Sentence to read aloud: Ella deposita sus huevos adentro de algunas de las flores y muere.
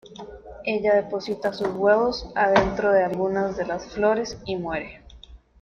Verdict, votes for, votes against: rejected, 1, 2